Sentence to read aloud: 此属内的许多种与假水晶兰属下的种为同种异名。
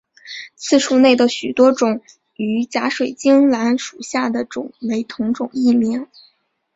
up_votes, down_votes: 0, 2